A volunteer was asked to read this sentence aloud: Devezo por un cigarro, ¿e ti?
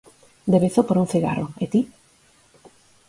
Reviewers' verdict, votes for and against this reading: accepted, 4, 0